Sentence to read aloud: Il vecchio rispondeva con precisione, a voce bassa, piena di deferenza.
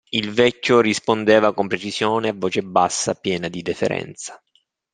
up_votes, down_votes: 2, 1